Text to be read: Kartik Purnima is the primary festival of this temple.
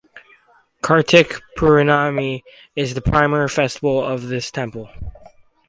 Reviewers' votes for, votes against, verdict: 0, 2, rejected